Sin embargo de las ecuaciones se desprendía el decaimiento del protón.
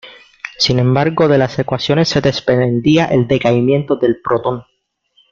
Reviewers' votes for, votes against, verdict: 1, 2, rejected